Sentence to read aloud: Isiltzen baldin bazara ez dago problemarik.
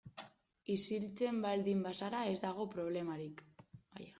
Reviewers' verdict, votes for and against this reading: accepted, 2, 1